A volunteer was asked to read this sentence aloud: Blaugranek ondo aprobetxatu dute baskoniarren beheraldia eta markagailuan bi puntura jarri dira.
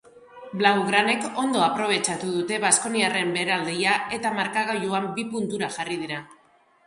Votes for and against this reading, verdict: 0, 2, rejected